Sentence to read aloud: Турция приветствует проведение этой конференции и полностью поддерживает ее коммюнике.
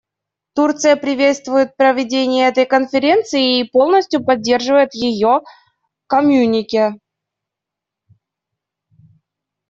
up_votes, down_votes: 1, 2